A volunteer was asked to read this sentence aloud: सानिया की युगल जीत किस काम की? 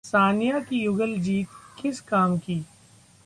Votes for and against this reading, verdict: 1, 2, rejected